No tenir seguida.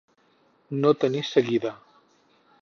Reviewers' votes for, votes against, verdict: 4, 0, accepted